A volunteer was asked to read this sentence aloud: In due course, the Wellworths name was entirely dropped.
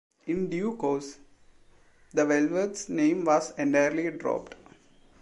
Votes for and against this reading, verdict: 0, 2, rejected